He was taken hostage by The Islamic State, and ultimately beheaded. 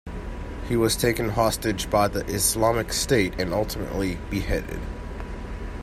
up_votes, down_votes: 2, 0